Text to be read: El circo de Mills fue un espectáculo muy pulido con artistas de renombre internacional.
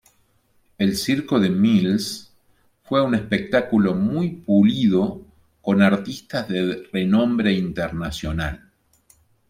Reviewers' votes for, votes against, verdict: 1, 2, rejected